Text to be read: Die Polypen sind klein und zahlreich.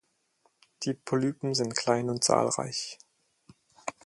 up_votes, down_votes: 4, 0